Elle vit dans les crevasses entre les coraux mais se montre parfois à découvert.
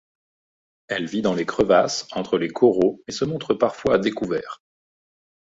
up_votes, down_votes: 2, 0